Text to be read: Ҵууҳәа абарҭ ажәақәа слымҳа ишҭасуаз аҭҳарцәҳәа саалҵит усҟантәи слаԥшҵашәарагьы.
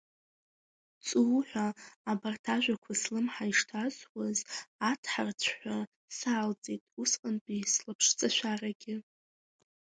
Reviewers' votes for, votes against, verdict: 1, 2, rejected